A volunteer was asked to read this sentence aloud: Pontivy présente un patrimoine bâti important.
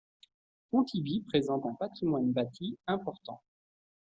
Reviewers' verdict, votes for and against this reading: accepted, 2, 0